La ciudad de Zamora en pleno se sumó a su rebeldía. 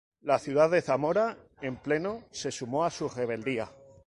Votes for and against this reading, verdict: 2, 0, accepted